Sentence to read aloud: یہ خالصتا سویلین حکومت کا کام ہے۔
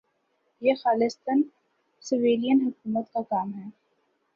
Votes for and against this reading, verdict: 2, 1, accepted